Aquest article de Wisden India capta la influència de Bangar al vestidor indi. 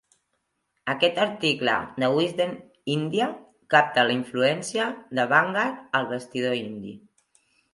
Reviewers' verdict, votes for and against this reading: accepted, 3, 1